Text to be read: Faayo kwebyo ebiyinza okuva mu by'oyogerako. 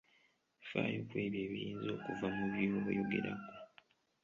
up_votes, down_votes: 2, 1